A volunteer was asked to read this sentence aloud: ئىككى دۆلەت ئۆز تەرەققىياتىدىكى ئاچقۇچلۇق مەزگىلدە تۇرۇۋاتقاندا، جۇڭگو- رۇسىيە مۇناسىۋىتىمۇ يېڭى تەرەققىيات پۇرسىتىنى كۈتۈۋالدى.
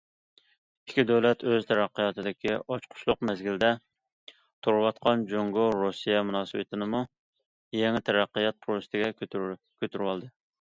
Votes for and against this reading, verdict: 0, 2, rejected